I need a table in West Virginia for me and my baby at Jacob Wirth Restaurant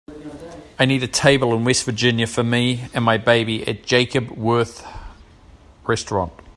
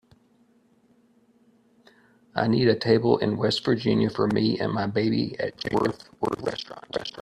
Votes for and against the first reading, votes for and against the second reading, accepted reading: 2, 0, 1, 2, first